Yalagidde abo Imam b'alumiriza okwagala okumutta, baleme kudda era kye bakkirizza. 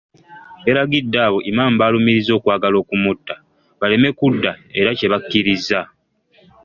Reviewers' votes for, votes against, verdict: 1, 2, rejected